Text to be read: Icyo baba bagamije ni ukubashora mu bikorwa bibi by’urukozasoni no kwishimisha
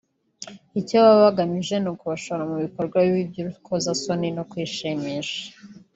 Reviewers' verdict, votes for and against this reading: rejected, 0, 2